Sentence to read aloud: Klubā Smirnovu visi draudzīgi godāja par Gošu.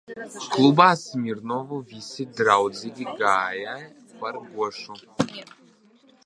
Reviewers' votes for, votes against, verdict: 1, 2, rejected